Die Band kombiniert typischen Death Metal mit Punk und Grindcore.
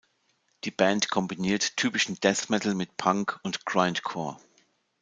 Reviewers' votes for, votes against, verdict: 2, 0, accepted